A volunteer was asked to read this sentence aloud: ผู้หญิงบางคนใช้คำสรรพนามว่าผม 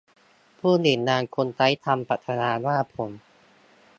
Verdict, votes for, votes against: rejected, 1, 2